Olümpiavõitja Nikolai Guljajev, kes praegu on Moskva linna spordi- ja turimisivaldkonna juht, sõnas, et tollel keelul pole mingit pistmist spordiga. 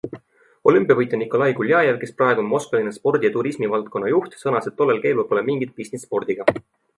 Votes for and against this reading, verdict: 2, 0, accepted